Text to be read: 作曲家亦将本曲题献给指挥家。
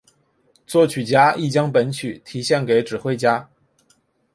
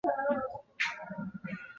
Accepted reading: first